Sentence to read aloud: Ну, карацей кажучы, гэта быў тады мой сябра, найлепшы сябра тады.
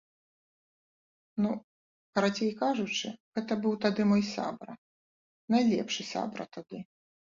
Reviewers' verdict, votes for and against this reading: accepted, 2, 0